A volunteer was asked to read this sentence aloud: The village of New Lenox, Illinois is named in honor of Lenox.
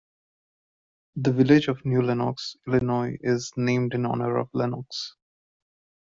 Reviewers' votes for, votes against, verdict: 2, 0, accepted